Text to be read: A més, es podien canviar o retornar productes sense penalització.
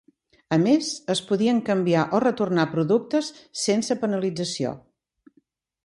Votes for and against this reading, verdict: 2, 0, accepted